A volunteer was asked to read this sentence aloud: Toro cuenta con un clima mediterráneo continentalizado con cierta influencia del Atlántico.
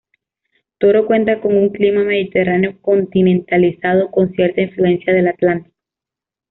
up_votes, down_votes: 2, 0